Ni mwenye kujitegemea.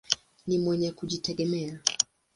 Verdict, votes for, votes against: accepted, 2, 0